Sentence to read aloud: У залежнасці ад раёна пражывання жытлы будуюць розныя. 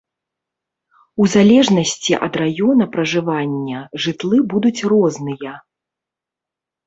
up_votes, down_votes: 1, 2